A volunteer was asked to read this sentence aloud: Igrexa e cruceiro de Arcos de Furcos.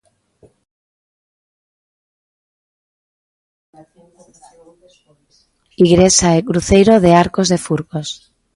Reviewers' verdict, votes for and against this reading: rejected, 0, 2